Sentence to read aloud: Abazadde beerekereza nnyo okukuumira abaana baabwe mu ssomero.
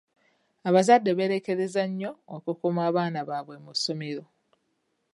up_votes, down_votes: 2, 3